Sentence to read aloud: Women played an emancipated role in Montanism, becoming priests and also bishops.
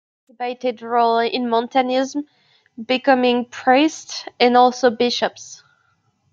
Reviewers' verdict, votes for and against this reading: rejected, 0, 2